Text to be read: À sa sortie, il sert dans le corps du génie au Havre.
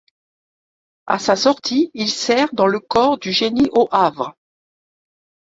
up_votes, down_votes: 2, 0